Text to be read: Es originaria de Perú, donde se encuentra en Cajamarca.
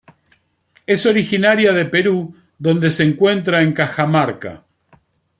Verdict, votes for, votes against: accepted, 2, 0